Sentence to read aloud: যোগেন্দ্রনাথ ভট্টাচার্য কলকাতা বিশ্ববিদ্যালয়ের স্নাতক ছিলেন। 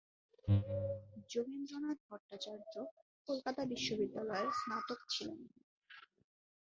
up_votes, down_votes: 1, 2